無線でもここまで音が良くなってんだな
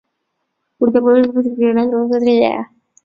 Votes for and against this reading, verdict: 0, 2, rejected